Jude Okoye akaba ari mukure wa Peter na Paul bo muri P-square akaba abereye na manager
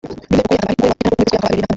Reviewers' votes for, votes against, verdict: 0, 2, rejected